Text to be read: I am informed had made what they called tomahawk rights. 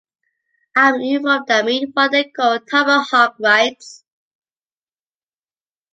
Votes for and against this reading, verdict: 0, 2, rejected